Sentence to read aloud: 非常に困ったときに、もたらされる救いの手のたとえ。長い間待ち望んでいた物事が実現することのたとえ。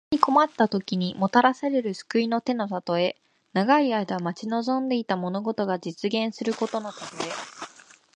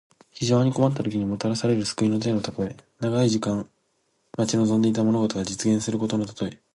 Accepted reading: second